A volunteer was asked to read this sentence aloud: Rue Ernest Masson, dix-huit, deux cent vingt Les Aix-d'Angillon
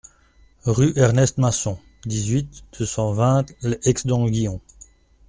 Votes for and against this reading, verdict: 1, 2, rejected